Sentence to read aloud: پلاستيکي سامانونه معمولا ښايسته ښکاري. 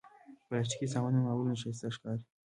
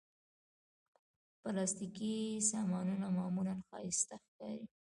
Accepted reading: first